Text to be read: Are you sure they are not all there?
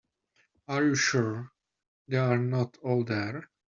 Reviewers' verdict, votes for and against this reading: accepted, 2, 0